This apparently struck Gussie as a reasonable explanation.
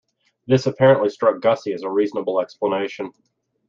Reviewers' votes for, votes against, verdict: 2, 0, accepted